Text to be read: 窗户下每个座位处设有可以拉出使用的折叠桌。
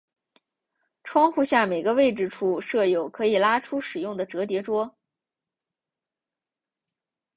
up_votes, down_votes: 2, 1